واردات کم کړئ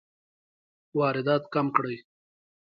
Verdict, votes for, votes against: rejected, 2, 3